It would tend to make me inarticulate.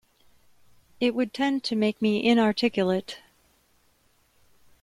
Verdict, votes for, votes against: accepted, 2, 0